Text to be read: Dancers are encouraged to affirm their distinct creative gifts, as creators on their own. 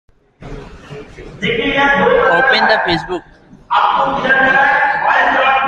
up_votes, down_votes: 0, 2